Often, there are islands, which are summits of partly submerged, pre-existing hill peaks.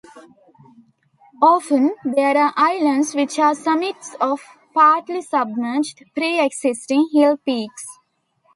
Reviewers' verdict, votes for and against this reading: accepted, 2, 0